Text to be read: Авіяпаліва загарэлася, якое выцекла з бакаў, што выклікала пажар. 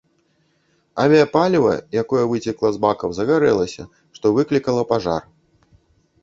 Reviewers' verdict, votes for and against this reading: rejected, 1, 2